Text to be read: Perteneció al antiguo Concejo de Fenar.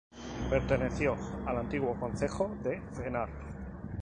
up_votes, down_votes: 2, 4